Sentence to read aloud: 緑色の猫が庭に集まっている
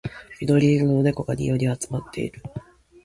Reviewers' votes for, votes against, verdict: 0, 2, rejected